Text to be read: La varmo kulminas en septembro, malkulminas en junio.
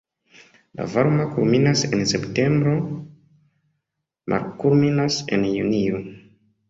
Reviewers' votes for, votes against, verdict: 2, 0, accepted